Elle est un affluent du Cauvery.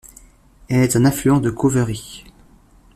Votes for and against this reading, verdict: 1, 2, rejected